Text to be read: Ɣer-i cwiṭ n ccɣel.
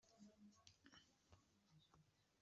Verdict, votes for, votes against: rejected, 0, 2